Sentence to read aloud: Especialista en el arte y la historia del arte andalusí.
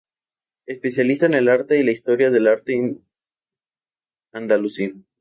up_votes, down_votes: 0, 2